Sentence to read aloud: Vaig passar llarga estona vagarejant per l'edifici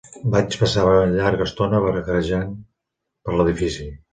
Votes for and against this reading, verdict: 0, 2, rejected